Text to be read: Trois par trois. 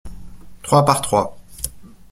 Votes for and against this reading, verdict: 2, 0, accepted